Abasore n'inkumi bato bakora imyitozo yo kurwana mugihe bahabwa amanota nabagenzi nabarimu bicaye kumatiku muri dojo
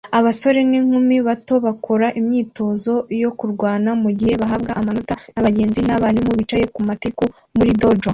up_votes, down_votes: 2, 0